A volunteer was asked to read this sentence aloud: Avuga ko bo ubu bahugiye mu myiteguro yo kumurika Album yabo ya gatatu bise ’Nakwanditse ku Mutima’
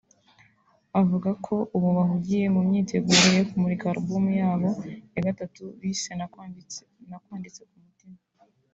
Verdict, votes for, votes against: rejected, 0, 2